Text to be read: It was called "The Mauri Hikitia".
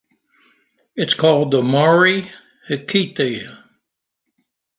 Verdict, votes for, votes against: rejected, 1, 2